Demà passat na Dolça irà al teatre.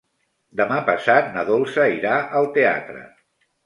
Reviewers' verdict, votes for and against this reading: accepted, 3, 0